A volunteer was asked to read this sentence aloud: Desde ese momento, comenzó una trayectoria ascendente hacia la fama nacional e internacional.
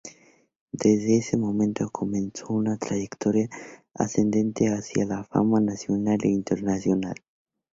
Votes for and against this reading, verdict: 2, 0, accepted